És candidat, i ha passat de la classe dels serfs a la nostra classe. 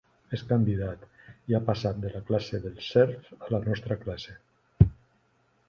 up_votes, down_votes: 4, 0